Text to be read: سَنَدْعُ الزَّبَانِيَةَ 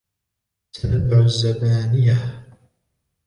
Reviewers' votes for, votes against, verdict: 2, 0, accepted